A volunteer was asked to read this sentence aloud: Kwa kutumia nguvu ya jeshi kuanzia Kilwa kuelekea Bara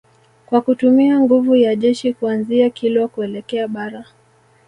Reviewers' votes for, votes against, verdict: 1, 2, rejected